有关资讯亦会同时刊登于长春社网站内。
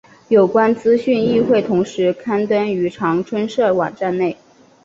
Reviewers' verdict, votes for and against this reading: accepted, 2, 0